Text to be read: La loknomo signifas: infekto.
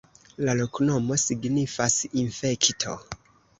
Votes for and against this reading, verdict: 0, 2, rejected